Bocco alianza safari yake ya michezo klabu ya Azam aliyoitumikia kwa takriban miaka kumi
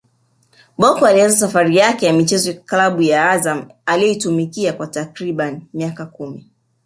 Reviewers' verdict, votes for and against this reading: rejected, 0, 2